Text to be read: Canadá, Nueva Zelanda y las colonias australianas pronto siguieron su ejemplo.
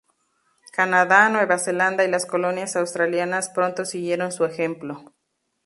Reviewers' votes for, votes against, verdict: 0, 2, rejected